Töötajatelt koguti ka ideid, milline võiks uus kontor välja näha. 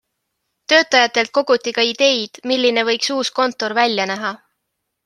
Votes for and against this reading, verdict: 3, 0, accepted